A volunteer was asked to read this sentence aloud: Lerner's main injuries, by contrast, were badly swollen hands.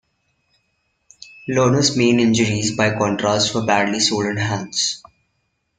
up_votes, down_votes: 2, 1